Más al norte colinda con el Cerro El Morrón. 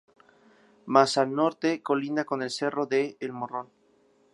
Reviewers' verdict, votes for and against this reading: rejected, 2, 2